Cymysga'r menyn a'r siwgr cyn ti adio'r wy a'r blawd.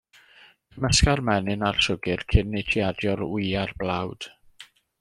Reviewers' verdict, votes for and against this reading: rejected, 1, 2